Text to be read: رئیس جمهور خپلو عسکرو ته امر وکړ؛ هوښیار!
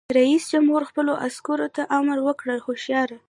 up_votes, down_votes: 1, 2